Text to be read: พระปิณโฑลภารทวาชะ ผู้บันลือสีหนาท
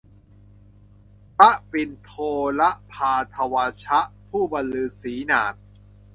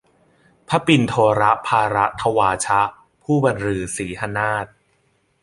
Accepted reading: second